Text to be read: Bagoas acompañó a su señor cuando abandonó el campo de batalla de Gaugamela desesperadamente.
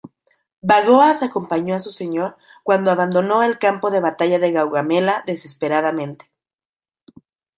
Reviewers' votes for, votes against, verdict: 2, 0, accepted